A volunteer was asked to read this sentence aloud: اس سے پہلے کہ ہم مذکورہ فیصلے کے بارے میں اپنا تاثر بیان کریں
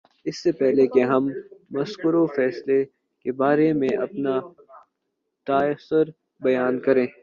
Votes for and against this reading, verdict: 0, 2, rejected